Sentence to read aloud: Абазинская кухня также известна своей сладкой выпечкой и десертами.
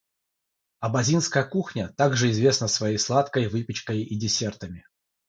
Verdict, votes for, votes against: accepted, 6, 0